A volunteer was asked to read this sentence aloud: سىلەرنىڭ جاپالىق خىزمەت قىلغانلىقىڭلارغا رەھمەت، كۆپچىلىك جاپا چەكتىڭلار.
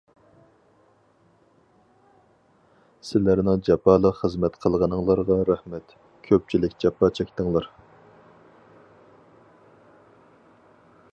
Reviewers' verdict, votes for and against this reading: rejected, 0, 2